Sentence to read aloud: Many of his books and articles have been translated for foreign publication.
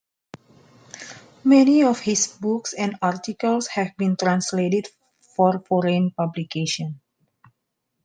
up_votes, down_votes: 2, 0